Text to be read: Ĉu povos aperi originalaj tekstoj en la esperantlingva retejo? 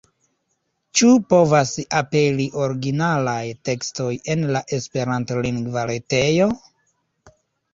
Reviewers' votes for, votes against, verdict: 1, 2, rejected